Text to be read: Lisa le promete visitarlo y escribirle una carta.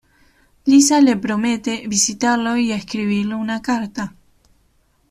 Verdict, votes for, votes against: accepted, 2, 0